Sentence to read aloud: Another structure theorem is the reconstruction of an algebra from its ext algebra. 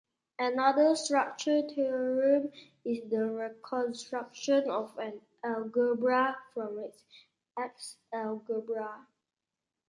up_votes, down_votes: 1, 2